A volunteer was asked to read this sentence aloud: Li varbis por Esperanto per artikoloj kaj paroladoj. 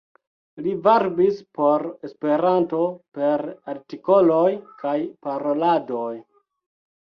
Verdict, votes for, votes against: accepted, 2, 0